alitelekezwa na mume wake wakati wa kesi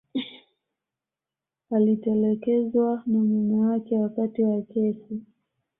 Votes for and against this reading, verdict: 2, 0, accepted